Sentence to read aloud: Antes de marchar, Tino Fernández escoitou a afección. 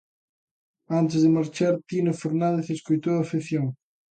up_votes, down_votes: 2, 0